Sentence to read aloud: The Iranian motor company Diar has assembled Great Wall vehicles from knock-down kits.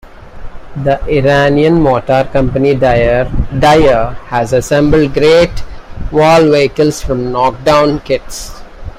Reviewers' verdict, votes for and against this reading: rejected, 0, 2